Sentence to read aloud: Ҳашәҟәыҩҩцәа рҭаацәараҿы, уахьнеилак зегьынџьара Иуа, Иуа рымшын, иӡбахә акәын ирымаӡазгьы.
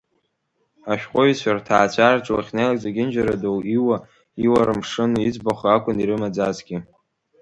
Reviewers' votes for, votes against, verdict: 3, 0, accepted